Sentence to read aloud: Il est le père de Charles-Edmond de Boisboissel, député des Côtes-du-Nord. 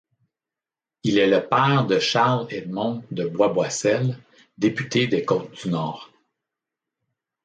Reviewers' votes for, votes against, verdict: 2, 0, accepted